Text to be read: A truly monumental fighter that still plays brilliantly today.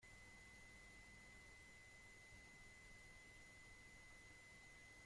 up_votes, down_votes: 0, 2